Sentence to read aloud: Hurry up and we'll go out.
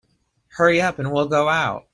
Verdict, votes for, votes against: accepted, 3, 0